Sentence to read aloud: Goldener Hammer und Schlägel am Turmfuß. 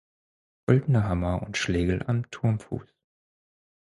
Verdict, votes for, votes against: rejected, 0, 4